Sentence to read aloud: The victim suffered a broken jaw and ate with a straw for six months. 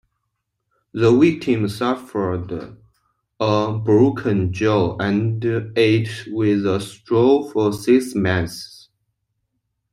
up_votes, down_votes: 0, 2